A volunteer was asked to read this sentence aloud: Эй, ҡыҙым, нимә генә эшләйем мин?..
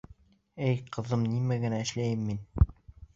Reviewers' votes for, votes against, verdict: 2, 0, accepted